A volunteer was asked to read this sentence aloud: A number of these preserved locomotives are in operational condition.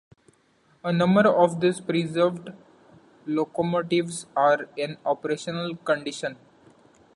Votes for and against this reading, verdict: 2, 1, accepted